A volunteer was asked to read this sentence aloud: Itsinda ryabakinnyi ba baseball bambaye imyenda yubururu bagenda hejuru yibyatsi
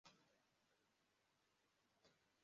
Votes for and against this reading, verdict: 0, 2, rejected